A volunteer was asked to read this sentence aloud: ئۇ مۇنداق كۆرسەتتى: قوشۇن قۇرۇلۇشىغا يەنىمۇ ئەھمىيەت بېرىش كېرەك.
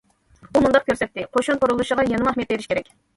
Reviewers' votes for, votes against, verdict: 1, 2, rejected